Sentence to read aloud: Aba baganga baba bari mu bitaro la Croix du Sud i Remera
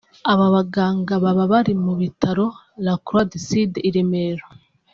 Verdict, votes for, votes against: accepted, 2, 0